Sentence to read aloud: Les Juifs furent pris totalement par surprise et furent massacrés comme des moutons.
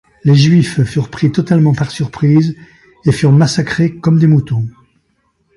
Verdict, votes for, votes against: accepted, 2, 0